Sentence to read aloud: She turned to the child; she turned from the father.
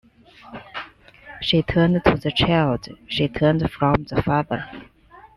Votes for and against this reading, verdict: 2, 0, accepted